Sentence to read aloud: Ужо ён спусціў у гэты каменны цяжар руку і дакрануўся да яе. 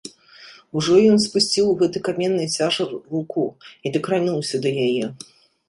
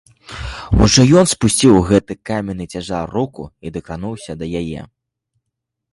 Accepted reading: second